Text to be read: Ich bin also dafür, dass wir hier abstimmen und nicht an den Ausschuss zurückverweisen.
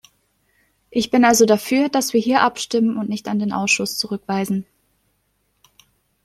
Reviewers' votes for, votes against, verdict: 1, 2, rejected